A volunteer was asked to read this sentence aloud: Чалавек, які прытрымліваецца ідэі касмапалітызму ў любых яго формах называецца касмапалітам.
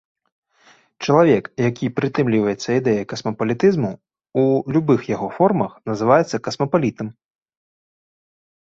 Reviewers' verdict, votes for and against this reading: accepted, 2, 0